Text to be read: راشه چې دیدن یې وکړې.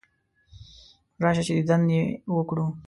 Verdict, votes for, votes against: rejected, 2, 3